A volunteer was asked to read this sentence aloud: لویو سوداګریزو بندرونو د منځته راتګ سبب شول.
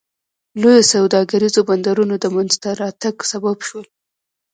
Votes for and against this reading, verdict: 3, 0, accepted